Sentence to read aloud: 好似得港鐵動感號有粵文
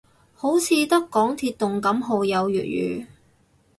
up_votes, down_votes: 2, 2